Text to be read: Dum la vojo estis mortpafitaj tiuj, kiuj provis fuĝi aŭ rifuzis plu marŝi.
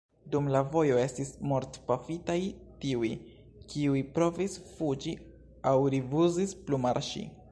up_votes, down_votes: 2, 1